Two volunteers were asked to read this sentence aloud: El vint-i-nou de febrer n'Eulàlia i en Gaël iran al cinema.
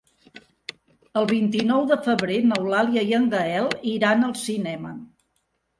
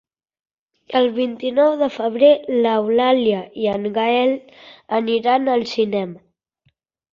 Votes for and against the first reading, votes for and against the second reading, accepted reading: 3, 0, 0, 2, first